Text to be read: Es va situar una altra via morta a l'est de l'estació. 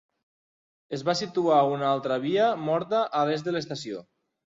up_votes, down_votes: 3, 0